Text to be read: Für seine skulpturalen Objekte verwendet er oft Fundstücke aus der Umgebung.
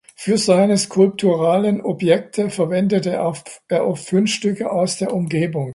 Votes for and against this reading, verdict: 0, 2, rejected